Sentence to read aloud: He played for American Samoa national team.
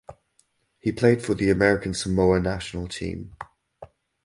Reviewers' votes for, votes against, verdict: 0, 2, rejected